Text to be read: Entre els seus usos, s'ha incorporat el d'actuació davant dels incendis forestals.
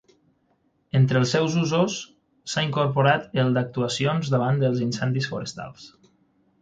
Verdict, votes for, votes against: rejected, 6, 9